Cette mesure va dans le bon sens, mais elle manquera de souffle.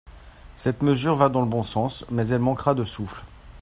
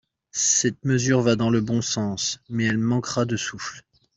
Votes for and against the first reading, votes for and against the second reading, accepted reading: 2, 0, 0, 2, first